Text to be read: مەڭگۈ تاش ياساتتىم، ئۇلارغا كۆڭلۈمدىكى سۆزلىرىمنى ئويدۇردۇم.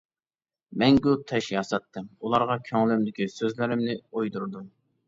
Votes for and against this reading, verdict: 2, 0, accepted